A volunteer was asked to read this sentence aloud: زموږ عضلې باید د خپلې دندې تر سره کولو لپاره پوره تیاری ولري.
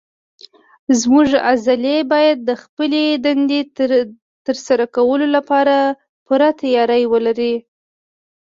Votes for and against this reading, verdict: 2, 0, accepted